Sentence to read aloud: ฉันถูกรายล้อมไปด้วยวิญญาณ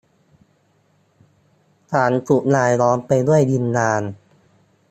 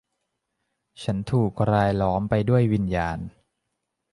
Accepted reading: second